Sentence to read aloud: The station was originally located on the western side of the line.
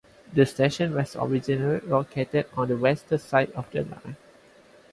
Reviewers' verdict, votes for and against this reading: accepted, 4, 2